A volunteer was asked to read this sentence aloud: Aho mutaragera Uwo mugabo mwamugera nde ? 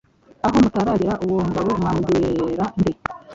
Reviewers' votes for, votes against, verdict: 1, 2, rejected